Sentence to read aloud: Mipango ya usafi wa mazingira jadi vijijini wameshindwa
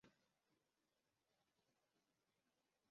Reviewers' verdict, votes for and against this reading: rejected, 0, 2